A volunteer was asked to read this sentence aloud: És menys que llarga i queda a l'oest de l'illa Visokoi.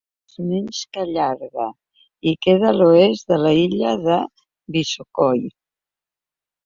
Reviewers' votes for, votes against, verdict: 1, 2, rejected